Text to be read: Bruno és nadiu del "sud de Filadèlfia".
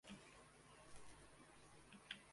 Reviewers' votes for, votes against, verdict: 0, 2, rejected